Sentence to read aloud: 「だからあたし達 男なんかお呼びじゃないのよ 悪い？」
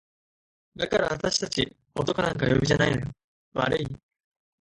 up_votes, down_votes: 4, 0